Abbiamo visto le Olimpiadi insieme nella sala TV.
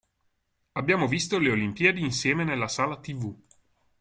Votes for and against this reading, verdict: 2, 0, accepted